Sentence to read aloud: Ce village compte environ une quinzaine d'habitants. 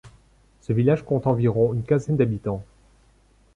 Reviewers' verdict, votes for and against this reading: accepted, 2, 0